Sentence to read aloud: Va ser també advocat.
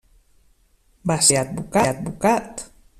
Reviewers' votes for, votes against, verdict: 0, 2, rejected